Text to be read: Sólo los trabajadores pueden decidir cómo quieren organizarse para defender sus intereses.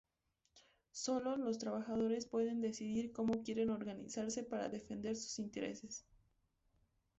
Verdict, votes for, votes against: accepted, 2, 0